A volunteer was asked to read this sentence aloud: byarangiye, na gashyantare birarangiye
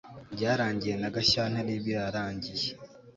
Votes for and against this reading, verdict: 3, 0, accepted